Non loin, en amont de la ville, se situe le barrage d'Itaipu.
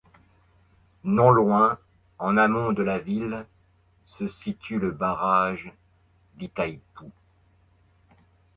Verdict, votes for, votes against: accepted, 2, 0